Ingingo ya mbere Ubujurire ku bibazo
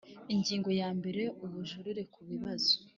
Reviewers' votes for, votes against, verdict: 2, 0, accepted